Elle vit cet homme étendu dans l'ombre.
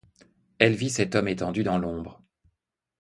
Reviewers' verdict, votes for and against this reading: accepted, 2, 0